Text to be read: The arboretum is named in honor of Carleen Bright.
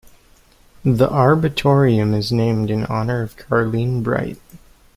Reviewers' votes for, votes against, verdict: 0, 2, rejected